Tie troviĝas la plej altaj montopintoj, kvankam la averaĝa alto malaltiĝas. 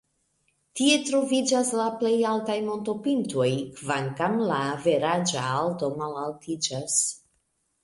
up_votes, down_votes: 1, 2